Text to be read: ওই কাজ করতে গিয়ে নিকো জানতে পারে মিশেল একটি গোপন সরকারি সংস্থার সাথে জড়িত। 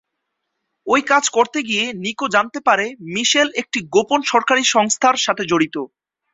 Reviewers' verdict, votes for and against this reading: accepted, 2, 0